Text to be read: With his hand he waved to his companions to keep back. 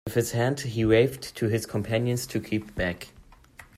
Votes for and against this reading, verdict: 2, 0, accepted